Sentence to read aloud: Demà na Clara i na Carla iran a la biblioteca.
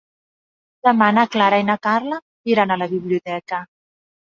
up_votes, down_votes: 3, 0